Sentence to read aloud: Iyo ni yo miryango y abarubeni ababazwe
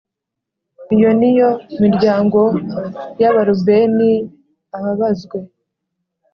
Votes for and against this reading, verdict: 3, 0, accepted